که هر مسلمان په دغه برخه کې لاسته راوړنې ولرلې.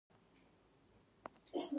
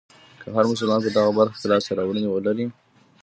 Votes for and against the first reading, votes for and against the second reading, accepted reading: 1, 2, 2, 1, second